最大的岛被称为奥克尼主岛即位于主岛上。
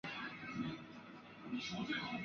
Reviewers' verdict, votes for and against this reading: rejected, 2, 3